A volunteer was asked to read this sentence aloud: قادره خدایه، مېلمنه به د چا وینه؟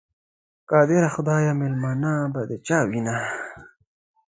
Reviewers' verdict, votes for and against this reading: accepted, 2, 0